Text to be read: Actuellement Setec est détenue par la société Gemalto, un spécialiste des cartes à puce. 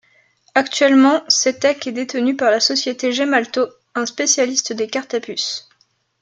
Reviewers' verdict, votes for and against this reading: accepted, 2, 0